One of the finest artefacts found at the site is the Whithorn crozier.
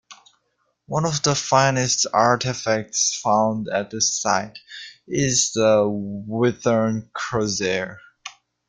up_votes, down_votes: 2, 0